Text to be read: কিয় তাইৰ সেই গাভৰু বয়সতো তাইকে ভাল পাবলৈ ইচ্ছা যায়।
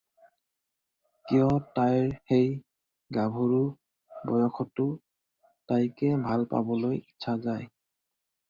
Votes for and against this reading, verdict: 4, 0, accepted